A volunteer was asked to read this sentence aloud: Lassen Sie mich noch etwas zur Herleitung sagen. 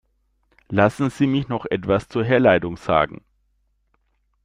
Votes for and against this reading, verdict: 2, 0, accepted